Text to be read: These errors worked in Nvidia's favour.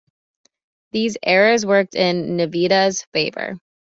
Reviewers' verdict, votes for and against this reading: accepted, 2, 1